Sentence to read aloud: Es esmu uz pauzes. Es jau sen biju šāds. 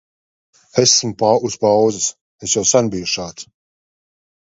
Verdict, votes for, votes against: rejected, 0, 2